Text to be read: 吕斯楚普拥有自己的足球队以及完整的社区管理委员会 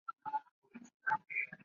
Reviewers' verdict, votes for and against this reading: rejected, 0, 2